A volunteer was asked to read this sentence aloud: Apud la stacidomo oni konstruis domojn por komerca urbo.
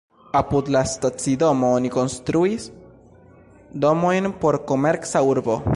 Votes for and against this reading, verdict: 1, 2, rejected